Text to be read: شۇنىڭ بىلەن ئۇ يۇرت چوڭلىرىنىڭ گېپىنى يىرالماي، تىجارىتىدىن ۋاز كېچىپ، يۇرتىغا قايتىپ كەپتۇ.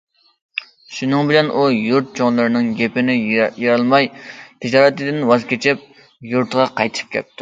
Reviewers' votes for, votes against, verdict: 0, 2, rejected